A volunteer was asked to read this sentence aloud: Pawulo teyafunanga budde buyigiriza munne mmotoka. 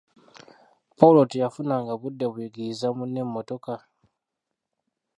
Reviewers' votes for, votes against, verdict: 0, 2, rejected